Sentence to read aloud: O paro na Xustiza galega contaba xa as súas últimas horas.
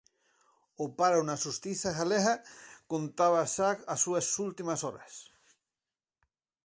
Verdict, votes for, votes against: accepted, 4, 0